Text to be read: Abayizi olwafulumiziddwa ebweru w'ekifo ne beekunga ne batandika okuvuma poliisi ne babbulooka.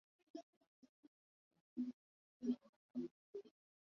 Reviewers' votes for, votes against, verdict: 0, 3, rejected